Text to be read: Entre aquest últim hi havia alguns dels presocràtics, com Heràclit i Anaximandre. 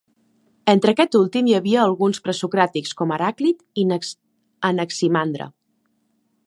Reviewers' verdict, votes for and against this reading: rejected, 1, 3